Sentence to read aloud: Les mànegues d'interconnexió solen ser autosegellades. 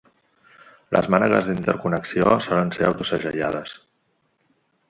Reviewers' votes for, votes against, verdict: 2, 0, accepted